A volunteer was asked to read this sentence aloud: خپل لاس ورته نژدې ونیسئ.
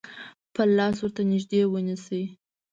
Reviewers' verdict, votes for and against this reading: accepted, 2, 0